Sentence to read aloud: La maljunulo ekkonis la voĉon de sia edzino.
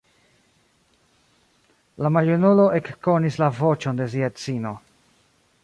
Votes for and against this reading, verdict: 1, 2, rejected